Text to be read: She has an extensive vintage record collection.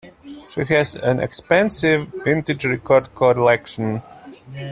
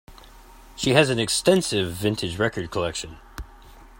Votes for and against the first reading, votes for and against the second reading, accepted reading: 1, 2, 2, 0, second